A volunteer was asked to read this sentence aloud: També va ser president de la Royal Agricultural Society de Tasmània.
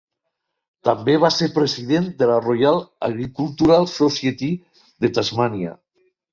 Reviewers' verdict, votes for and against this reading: rejected, 2, 3